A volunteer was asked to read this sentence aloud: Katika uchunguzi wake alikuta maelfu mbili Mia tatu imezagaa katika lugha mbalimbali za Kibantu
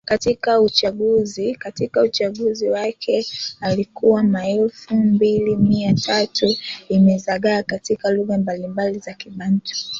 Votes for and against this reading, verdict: 0, 3, rejected